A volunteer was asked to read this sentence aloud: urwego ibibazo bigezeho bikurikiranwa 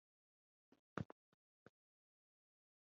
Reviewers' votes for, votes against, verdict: 1, 2, rejected